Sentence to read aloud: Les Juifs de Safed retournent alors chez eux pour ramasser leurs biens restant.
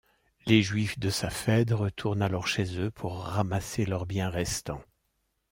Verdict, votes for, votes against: accepted, 2, 0